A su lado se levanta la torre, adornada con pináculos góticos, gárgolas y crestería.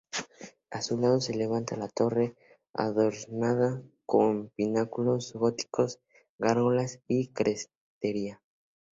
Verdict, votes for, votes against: accepted, 2, 0